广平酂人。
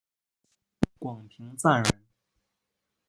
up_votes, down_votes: 0, 2